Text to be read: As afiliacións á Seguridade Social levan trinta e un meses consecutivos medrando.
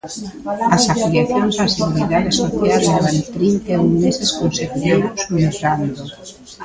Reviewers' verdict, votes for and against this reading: rejected, 0, 2